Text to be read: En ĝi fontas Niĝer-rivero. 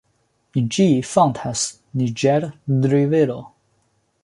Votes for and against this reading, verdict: 1, 2, rejected